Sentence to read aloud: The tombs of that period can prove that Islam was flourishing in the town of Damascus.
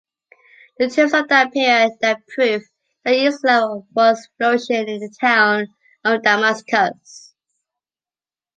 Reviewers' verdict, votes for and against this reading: rejected, 1, 2